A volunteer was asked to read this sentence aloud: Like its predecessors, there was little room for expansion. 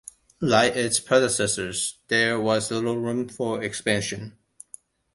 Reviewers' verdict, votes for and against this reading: accepted, 2, 0